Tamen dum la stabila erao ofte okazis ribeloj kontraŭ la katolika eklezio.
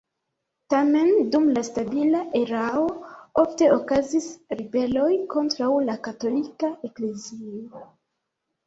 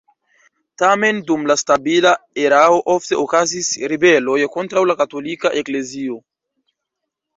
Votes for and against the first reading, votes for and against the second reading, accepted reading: 1, 2, 2, 0, second